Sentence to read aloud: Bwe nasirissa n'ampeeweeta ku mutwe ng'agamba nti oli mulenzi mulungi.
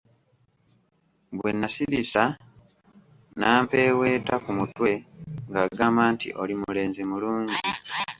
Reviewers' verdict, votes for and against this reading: rejected, 1, 2